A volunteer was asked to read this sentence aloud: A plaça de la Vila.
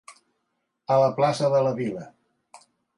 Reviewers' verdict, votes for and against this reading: rejected, 1, 2